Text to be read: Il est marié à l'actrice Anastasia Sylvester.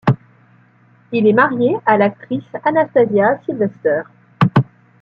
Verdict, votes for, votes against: accepted, 2, 0